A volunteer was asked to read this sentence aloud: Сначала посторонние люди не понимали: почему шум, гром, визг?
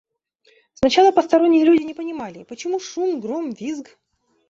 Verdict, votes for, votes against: accepted, 2, 0